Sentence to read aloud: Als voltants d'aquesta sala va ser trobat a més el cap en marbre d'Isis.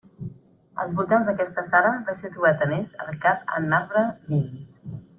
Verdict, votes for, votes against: accepted, 2, 0